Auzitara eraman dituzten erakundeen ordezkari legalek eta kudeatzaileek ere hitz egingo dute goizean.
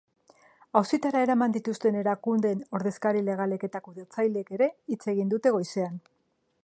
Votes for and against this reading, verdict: 3, 0, accepted